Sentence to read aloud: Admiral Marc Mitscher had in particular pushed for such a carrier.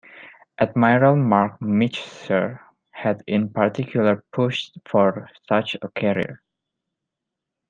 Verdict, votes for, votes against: rejected, 1, 2